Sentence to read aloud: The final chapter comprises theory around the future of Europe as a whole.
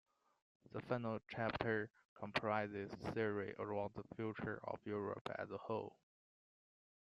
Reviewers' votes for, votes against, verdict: 0, 2, rejected